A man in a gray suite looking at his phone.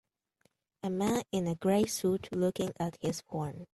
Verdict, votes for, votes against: rejected, 0, 2